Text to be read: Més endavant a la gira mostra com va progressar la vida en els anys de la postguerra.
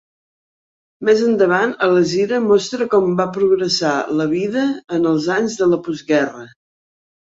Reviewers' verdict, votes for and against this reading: accepted, 2, 0